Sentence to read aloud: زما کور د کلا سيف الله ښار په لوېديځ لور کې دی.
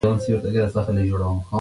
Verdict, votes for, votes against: rejected, 1, 2